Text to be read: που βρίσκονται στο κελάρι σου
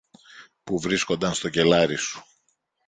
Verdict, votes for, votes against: rejected, 0, 2